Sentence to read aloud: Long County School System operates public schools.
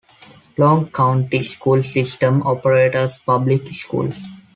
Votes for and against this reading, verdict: 1, 2, rejected